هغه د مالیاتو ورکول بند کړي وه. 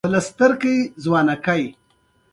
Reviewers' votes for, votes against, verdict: 2, 0, accepted